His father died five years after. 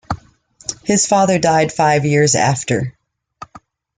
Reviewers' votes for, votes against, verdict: 2, 0, accepted